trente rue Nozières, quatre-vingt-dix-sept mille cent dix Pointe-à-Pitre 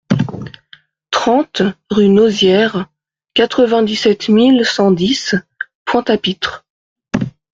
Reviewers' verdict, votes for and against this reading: accepted, 2, 0